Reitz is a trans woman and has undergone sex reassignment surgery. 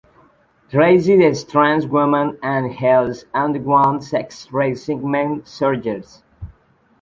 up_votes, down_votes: 0, 2